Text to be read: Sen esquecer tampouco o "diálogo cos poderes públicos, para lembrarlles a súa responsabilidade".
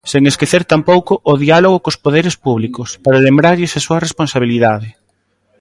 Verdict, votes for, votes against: accepted, 2, 1